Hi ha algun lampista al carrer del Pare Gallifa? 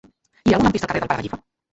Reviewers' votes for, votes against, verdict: 0, 2, rejected